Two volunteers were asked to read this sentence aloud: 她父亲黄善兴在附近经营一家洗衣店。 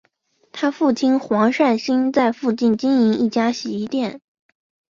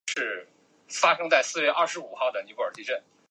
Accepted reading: first